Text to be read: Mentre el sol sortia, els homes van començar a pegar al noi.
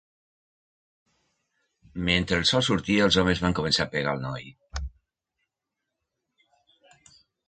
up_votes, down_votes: 0, 2